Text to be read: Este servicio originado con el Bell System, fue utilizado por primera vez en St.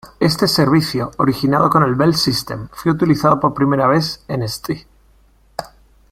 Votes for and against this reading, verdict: 1, 2, rejected